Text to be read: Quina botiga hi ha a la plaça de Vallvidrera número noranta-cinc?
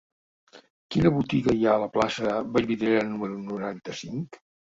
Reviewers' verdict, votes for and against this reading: rejected, 0, 2